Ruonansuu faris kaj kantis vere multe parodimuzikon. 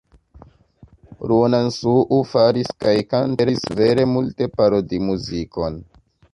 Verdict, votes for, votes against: accepted, 2, 0